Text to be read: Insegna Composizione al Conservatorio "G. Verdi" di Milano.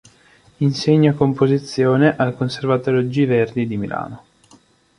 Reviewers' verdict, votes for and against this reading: accepted, 2, 0